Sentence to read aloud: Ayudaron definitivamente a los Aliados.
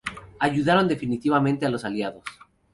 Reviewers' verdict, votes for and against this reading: accepted, 2, 0